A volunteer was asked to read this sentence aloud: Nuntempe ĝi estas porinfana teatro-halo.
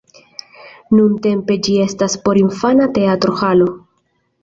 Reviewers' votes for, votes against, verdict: 2, 0, accepted